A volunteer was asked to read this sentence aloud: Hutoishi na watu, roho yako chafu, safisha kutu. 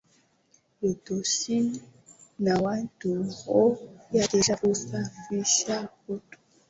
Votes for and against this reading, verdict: 1, 2, rejected